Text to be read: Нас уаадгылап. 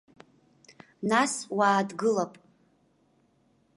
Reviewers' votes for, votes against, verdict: 1, 2, rejected